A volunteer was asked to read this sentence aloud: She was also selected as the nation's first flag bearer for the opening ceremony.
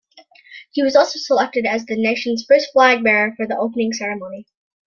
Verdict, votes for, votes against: accepted, 2, 0